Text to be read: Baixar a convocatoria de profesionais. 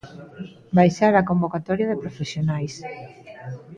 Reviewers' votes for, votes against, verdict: 2, 0, accepted